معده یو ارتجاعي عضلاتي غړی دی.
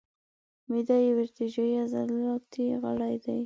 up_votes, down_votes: 2, 0